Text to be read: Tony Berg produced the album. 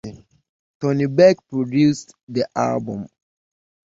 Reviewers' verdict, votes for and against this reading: accepted, 2, 0